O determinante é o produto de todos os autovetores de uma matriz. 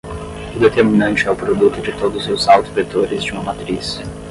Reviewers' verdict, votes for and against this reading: rejected, 5, 5